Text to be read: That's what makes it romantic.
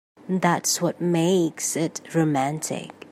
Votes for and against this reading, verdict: 3, 0, accepted